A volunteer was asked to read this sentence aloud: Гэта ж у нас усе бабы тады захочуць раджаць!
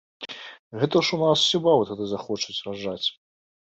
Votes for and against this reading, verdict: 2, 0, accepted